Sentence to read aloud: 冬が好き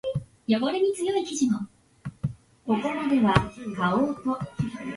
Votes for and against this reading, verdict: 0, 3, rejected